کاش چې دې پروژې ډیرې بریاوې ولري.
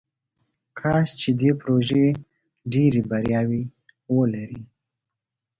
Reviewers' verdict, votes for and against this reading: accepted, 2, 0